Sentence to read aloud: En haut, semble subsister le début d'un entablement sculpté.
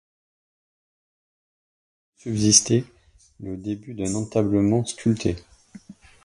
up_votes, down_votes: 1, 2